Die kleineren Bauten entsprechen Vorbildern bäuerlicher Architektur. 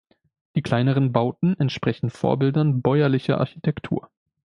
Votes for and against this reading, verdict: 2, 0, accepted